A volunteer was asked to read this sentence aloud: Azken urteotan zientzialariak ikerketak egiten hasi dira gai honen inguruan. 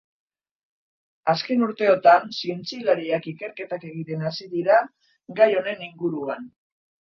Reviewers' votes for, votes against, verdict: 3, 1, accepted